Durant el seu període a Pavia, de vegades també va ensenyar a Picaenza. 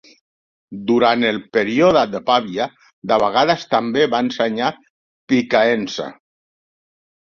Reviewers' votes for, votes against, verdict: 0, 2, rejected